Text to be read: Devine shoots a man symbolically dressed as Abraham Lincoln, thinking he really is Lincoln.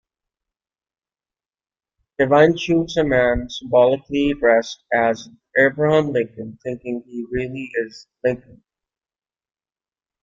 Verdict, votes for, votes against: accepted, 2, 0